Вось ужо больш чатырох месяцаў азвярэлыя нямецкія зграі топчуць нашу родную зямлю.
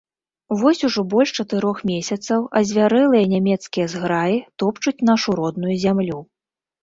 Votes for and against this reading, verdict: 2, 0, accepted